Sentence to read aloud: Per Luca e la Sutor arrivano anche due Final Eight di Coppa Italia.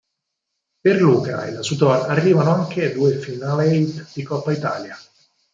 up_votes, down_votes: 0, 4